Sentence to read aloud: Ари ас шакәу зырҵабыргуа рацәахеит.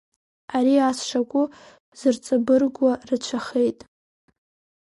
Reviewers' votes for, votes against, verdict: 2, 1, accepted